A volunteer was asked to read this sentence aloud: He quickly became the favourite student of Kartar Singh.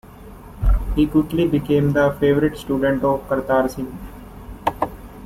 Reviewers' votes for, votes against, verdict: 0, 2, rejected